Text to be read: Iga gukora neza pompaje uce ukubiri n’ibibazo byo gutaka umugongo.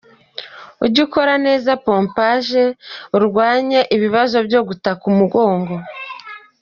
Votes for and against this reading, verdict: 0, 2, rejected